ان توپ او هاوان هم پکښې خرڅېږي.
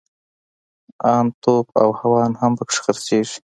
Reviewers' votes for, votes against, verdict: 2, 0, accepted